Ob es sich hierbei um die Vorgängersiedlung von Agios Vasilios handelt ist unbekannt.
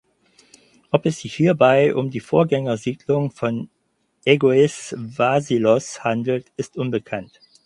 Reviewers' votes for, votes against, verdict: 0, 4, rejected